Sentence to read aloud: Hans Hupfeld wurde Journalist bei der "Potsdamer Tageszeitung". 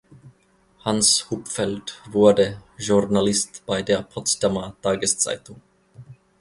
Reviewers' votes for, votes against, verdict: 2, 0, accepted